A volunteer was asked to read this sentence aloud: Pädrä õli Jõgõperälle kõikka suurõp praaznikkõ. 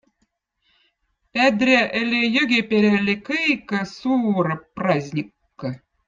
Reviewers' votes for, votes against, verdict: 2, 0, accepted